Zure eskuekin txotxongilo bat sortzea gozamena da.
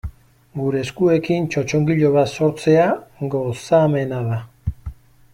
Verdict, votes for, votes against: rejected, 1, 2